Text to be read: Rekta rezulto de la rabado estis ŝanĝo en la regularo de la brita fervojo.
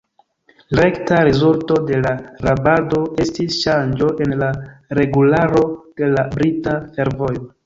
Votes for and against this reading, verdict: 2, 0, accepted